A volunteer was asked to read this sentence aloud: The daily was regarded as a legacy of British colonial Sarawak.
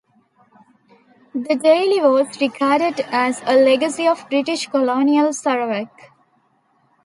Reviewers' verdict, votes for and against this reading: rejected, 0, 2